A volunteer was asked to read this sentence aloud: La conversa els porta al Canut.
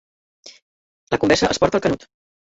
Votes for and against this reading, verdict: 0, 2, rejected